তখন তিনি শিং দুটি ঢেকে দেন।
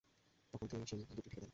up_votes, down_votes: 0, 2